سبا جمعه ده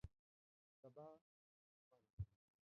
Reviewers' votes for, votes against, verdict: 1, 3, rejected